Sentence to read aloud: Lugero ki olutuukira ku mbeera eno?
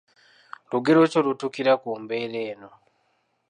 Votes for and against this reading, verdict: 2, 0, accepted